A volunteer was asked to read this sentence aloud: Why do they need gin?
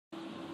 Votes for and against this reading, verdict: 0, 2, rejected